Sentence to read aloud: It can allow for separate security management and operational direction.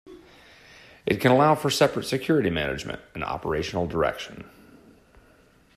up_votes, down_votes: 2, 1